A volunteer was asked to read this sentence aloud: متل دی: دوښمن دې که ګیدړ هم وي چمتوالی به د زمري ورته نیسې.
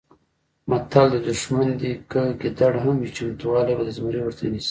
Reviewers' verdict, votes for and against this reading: rejected, 0, 2